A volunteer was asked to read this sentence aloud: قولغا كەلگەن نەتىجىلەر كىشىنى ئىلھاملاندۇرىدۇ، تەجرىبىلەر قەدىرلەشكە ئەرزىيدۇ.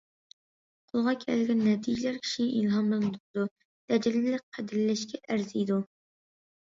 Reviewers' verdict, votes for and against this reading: rejected, 1, 2